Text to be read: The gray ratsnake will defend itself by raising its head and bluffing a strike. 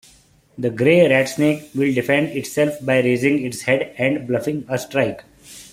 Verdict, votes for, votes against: accepted, 2, 0